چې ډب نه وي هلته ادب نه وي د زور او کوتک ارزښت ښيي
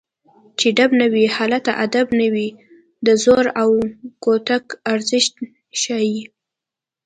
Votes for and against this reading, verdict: 2, 0, accepted